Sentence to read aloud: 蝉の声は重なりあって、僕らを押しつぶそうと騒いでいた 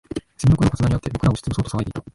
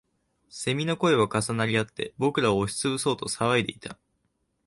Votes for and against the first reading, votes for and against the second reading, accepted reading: 0, 2, 2, 0, second